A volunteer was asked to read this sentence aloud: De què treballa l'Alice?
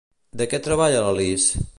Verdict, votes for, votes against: accepted, 2, 0